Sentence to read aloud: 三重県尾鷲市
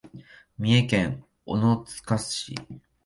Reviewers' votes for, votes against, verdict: 3, 5, rejected